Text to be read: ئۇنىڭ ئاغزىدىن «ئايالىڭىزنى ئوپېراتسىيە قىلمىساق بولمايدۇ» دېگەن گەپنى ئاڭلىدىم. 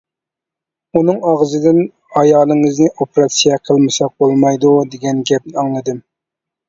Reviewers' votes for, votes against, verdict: 2, 0, accepted